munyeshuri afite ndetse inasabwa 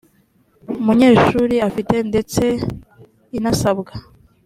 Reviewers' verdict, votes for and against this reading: accepted, 2, 0